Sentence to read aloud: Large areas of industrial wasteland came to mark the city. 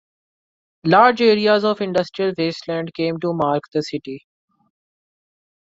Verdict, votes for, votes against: accepted, 2, 0